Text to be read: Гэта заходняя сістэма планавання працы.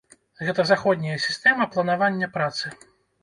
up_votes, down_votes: 3, 0